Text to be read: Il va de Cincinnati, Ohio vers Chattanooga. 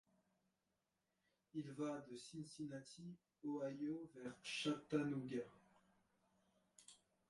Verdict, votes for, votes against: rejected, 0, 2